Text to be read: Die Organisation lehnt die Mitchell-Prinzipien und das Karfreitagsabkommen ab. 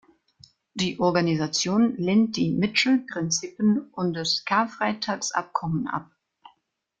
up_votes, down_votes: 2, 0